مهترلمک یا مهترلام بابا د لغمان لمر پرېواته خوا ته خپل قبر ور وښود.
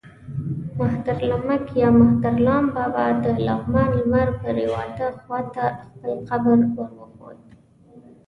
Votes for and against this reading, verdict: 0, 2, rejected